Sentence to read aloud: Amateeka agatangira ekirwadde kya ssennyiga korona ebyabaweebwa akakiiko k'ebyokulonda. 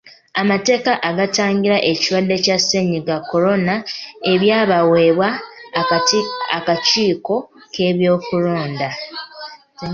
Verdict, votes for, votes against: rejected, 0, 2